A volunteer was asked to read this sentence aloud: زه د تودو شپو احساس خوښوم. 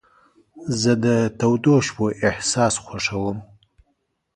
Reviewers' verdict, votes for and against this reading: accepted, 2, 0